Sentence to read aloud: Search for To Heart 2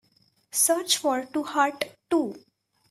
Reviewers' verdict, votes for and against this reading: rejected, 0, 2